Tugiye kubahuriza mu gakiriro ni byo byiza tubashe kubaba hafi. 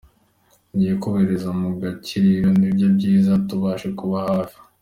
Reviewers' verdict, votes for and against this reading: accepted, 2, 1